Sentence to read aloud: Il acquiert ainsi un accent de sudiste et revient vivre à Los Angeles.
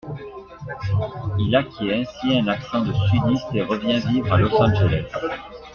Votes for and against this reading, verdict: 1, 2, rejected